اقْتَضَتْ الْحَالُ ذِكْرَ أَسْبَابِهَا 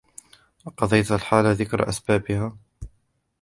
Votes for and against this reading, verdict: 1, 2, rejected